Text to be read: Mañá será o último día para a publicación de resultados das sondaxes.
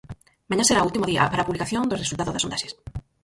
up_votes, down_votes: 0, 4